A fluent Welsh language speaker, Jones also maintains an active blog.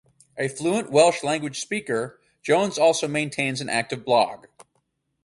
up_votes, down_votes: 6, 0